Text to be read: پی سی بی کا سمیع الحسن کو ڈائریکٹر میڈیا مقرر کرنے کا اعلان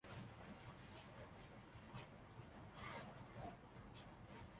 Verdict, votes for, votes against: rejected, 0, 2